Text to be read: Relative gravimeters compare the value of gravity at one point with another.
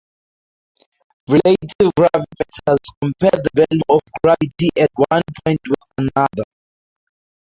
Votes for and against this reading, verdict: 0, 4, rejected